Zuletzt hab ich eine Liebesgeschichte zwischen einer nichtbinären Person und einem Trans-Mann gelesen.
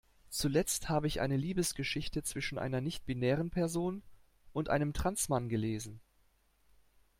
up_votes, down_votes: 2, 0